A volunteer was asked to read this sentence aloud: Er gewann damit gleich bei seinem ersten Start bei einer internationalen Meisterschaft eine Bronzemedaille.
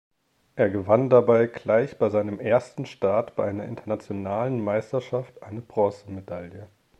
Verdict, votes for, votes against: rejected, 1, 3